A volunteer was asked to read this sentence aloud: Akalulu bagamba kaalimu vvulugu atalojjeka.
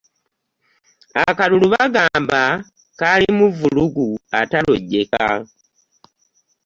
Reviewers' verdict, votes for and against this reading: accepted, 2, 0